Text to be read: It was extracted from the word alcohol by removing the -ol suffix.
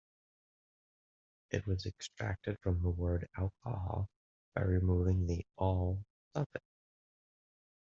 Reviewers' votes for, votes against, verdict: 1, 2, rejected